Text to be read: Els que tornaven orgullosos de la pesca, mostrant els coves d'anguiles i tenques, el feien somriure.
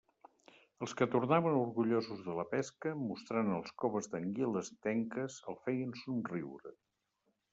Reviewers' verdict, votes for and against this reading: rejected, 1, 2